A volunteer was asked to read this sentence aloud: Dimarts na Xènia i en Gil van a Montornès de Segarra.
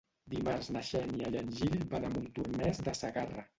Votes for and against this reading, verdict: 0, 2, rejected